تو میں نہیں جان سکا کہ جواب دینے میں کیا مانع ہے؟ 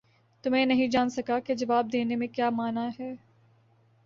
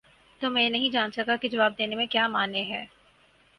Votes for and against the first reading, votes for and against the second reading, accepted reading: 3, 0, 2, 2, first